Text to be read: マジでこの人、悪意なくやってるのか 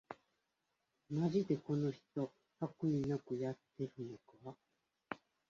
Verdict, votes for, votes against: rejected, 0, 2